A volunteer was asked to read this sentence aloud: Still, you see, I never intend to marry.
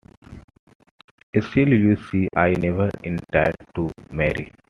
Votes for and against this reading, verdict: 1, 2, rejected